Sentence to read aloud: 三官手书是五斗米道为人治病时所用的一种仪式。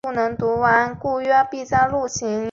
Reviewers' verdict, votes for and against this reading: rejected, 0, 2